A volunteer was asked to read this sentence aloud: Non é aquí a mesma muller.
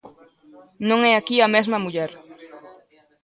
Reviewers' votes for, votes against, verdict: 0, 2, rejected